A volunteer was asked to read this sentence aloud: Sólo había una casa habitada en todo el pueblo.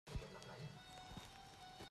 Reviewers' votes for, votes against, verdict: 0, 2, rejected